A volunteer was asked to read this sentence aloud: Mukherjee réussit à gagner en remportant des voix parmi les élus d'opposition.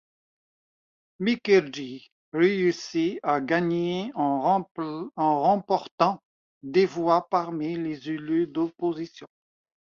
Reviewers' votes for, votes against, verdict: 0, 2, rejected